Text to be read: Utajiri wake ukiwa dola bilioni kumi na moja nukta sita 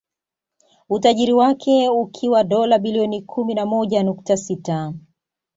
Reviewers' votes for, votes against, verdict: 2, 0, accepted